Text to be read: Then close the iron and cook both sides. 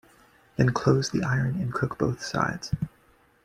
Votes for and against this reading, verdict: 2, 1, accepted